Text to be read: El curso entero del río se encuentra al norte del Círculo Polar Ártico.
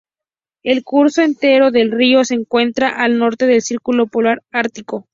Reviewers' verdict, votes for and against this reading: rejected, 0, 2